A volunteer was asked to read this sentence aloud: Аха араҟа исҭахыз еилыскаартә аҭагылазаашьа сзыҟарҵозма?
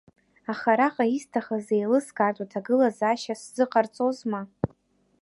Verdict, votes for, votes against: accepted, 2, 1